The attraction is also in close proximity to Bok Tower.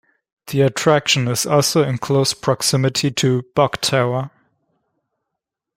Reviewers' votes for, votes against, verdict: 2, 0, accepted